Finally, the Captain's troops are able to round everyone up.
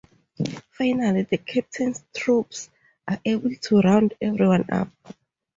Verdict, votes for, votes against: accepted, 2, 0